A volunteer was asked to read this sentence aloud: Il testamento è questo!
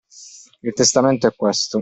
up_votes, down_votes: 2, 0